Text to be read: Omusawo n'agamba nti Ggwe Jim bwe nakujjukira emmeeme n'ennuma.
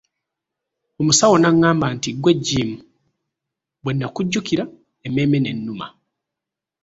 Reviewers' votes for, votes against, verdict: 1, 2, rejected